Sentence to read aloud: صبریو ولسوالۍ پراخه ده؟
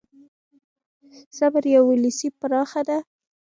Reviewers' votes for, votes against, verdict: 1, 2, rejected